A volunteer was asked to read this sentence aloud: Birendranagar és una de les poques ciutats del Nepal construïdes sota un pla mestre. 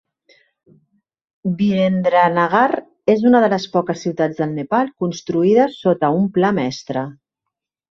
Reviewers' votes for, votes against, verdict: 1, 3, rejected